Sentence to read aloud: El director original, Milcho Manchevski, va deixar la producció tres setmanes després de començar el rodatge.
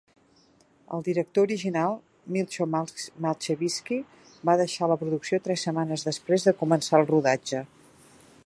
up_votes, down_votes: 0, 2